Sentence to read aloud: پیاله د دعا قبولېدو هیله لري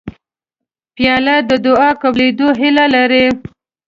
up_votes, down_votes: 2, 0